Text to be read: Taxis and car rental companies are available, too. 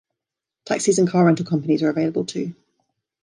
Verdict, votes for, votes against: accepted, 2, 0